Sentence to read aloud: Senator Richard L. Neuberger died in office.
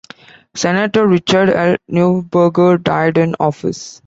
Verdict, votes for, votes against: accepted, 2, 0